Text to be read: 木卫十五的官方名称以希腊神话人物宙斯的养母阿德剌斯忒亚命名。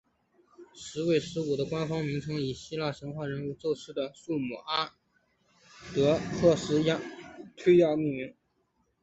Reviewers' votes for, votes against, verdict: 5, 1, accepted